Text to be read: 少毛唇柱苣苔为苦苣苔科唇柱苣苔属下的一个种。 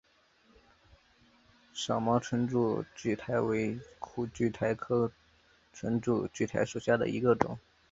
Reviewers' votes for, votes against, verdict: 3, 0, accepted